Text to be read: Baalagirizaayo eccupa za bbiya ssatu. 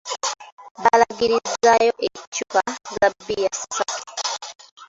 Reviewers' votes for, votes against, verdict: 1, 2, rejected